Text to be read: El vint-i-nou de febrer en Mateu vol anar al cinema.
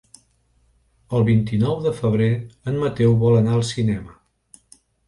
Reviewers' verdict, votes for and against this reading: accepted, 2, 0